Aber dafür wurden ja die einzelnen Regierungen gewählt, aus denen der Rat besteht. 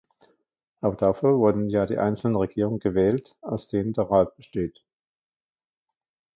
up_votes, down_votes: 2, 1